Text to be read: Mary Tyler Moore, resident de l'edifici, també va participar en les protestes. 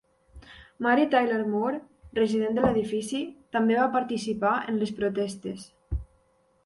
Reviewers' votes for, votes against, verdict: 2, 0, accepted